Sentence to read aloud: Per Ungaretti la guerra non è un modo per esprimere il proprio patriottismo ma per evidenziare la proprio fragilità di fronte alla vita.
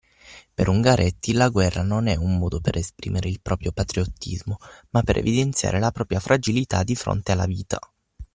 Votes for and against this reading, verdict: 0, 6, rejected